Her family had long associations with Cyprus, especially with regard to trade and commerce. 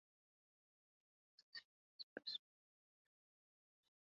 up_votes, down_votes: 0, 2